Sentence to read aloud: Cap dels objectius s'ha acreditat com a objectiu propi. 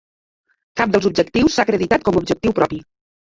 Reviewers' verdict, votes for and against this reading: accepted, 2, 1